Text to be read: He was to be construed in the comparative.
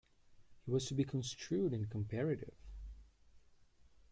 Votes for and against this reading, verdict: 1, 2, rejected